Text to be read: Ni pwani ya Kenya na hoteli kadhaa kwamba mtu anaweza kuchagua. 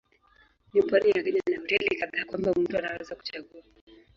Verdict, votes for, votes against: rejected, 1, 3